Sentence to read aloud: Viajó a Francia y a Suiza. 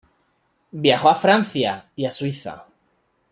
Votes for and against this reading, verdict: 2, 0, accepted